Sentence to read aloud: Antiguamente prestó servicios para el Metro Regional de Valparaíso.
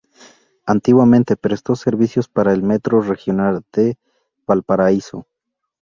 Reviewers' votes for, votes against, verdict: 2, 0, accepted